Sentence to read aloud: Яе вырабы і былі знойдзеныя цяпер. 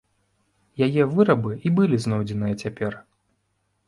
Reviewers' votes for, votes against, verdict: 2, 0, accepted